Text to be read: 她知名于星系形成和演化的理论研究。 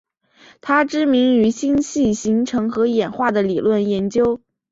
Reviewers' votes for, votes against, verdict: 4, 0, accepted